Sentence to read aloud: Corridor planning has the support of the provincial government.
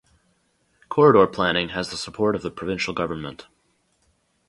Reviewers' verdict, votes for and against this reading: accepted, 4, 0